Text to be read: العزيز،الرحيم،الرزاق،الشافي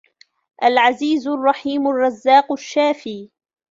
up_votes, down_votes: 2, 1